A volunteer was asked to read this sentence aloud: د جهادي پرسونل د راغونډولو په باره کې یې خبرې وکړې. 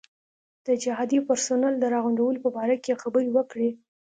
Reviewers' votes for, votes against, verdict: 2, 0, accepted